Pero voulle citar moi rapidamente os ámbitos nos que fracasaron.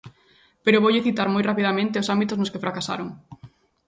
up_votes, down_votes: 2, 0